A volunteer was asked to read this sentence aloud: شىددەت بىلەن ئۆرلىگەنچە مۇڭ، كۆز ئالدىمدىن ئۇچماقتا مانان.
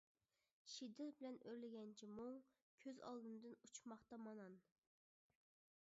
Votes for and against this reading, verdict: 0, 2, rejected